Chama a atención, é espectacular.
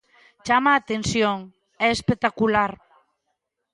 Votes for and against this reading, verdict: 2, 0, accepted